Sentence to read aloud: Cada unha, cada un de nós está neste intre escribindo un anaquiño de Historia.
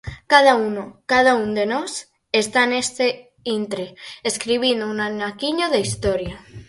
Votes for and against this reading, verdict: 0, 4, rejected